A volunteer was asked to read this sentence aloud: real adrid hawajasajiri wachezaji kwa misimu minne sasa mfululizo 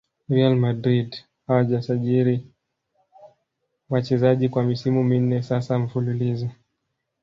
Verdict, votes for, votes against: rejected, 1, 2